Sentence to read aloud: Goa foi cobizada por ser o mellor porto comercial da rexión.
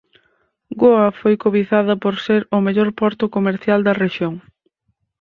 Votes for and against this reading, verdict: 4, 0, accepted